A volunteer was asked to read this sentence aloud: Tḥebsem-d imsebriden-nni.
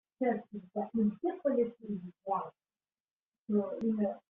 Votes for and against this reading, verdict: 1, 2, rejected